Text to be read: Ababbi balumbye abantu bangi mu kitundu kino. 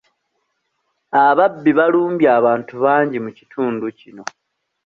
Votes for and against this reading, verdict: 2, 0, accepted